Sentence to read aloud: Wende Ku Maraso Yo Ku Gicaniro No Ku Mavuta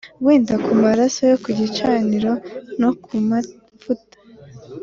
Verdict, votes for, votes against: accepted, 2, 0